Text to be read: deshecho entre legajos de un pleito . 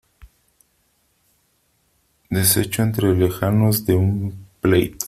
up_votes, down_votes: 2, 3